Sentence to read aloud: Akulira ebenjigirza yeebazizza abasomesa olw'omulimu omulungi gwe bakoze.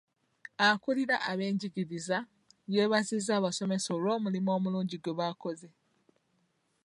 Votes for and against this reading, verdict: 1, 2, rejected